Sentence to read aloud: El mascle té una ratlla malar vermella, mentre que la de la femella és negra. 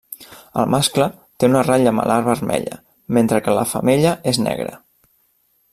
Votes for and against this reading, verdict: 1, 2, rejected